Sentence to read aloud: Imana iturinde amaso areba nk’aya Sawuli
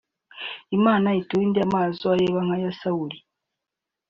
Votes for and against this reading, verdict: 2, 0, accepted